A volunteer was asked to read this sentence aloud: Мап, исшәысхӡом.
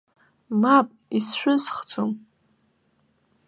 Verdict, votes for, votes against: accepted, 2, 0